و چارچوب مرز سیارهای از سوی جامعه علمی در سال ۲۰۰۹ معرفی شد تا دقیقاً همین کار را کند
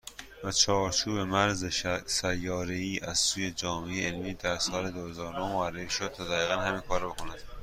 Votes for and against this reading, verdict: 0, 2, rejected